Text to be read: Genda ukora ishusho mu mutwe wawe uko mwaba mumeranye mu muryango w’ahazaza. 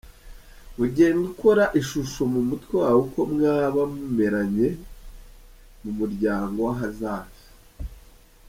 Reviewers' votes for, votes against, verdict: 1, 2, rejected